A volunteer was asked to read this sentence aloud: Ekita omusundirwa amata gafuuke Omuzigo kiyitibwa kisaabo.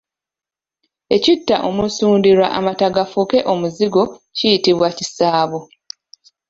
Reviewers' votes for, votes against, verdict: 2, 0, accepted